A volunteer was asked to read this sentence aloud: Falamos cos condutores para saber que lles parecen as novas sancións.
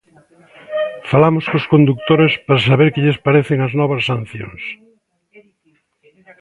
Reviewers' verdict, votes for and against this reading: rejected, 1, 3